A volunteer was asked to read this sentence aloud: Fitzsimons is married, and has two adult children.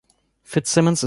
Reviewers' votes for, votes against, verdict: 1, 2, rejected